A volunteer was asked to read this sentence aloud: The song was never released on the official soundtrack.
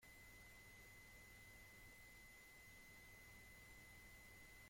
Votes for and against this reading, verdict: 0, 2, rejected